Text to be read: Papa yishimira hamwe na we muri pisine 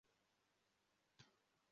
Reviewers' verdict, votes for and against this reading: rejected, 0, 2